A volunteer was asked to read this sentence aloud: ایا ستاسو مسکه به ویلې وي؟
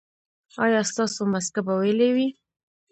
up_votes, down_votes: 1, 2